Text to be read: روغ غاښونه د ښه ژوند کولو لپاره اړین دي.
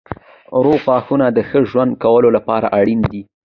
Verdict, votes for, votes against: accepted, 2, 1